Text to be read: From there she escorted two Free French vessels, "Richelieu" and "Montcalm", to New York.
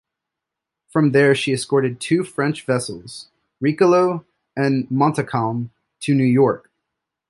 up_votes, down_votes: 1, 2